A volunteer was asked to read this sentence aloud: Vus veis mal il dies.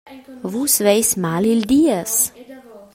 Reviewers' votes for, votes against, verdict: 2, 0, accepted